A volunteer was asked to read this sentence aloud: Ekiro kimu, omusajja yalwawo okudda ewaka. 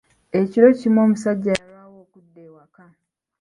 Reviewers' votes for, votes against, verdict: 1, 2, rejected